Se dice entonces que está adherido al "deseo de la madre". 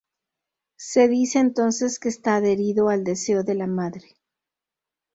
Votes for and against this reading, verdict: 0, 2, rejected